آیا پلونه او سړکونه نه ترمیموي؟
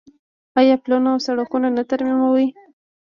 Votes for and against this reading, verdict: 0, 2, rejected